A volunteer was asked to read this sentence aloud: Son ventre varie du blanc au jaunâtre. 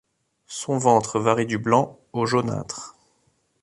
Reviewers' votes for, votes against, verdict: 2, 0, accepted